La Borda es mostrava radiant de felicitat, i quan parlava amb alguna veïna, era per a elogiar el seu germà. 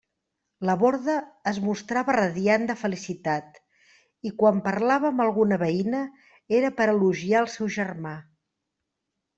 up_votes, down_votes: 2, 0